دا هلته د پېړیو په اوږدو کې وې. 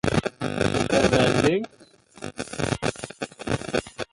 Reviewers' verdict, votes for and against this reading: rejected, 0, 3